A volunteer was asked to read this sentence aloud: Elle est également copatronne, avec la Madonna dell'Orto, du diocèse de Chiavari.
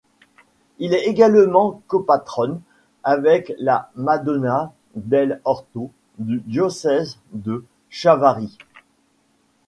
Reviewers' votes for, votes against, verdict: 1, 2, rejected